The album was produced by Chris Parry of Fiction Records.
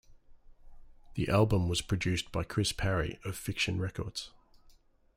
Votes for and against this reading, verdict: 2, 0, accepted